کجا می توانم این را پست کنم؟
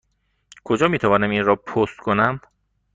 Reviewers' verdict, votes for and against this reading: accepted, 2, 0